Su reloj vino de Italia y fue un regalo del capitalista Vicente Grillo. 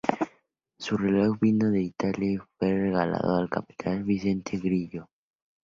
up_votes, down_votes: 0, 4